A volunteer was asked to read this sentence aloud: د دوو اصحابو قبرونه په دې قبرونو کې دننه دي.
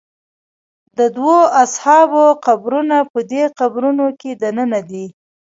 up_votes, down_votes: 1, 2